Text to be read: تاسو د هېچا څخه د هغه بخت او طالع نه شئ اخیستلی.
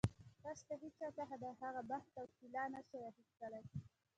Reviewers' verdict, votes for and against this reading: rejected, 0, 2